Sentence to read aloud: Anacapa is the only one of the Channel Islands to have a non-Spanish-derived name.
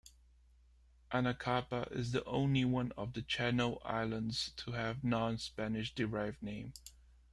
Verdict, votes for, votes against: rejected, 1, 2